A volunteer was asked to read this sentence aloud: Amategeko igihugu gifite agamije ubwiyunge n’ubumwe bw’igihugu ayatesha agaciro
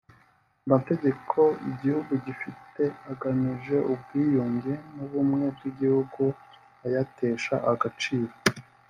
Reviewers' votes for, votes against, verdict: 2, 1, accepted